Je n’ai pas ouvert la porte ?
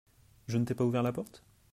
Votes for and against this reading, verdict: 0, 2, rejected